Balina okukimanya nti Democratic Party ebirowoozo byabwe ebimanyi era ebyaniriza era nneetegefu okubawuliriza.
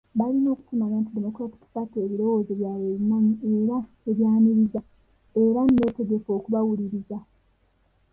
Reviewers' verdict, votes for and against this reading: accepted, 2, 1